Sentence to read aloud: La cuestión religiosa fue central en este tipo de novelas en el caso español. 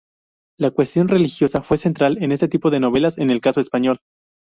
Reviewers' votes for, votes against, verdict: 2, 0, accepted